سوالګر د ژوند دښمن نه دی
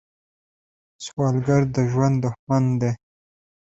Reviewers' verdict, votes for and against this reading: rejected, 0, 2